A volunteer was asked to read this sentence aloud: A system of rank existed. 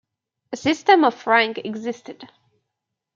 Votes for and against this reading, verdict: 2, 0, accepted